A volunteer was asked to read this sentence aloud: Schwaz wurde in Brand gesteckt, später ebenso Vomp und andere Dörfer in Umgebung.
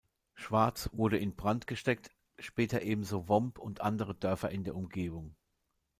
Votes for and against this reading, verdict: 1, 2, rejected